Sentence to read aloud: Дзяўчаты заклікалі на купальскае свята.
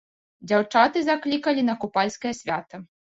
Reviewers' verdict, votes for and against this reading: accepted, 3, 2